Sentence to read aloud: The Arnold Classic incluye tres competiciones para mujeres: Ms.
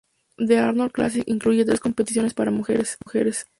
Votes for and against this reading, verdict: 2, 0, accepted